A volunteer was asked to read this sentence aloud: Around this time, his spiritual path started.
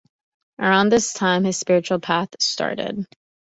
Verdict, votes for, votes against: accepted, 2, 0